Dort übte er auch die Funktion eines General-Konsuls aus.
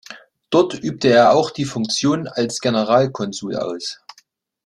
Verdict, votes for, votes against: rejected, 1, 2